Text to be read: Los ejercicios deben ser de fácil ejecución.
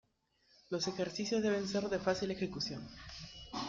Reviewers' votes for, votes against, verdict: 2, 1, accepted